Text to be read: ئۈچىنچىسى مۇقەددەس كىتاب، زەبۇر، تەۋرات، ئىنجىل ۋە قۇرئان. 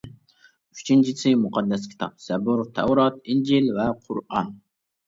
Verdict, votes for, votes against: accepted, 2, 0